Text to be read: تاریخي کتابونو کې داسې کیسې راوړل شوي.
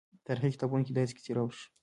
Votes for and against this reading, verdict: 1, 2, rejected